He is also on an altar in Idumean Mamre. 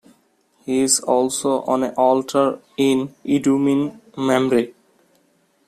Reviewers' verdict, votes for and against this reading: rejected, 1, 2